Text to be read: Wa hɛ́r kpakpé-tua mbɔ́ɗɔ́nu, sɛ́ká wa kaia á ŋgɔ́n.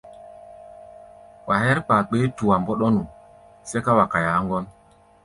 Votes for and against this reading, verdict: 2, 0, accepted